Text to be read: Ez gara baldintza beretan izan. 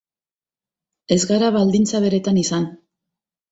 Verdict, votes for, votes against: accepted, 4, 0